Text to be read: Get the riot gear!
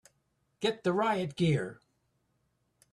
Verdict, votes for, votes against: accepted, 2, 0